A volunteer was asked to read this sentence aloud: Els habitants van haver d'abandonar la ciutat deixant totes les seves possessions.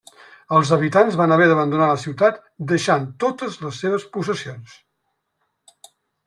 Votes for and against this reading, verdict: 3, 0, accepted